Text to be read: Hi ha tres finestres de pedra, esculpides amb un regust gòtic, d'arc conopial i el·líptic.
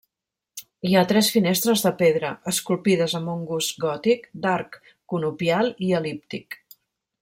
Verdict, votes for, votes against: rejected, 0, 2